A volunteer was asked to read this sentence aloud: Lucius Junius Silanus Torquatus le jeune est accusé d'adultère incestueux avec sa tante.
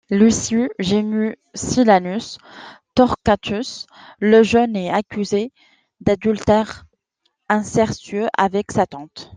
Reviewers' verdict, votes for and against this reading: rejected, 0, 2